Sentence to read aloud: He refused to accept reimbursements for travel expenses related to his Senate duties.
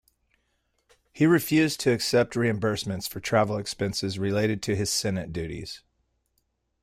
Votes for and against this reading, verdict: 2, 0, accepted